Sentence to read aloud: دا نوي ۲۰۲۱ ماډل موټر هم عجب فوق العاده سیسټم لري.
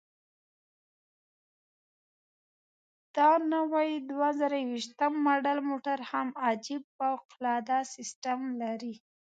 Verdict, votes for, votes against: rejected, 0, 2